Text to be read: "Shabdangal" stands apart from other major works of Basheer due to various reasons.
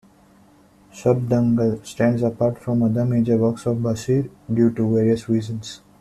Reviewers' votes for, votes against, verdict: 2, 0, accepted